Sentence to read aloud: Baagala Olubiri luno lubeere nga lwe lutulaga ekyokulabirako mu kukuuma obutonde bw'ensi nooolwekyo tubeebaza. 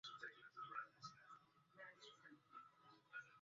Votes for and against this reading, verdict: 0, 3, rejected